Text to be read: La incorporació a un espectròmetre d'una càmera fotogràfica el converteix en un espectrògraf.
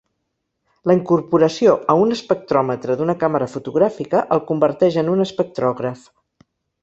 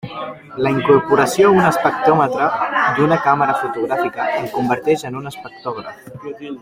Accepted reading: first